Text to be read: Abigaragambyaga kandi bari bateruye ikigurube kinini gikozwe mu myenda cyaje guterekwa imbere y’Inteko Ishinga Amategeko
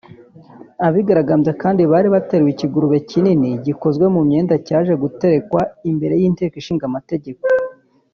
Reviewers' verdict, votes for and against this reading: rejected, 1, 2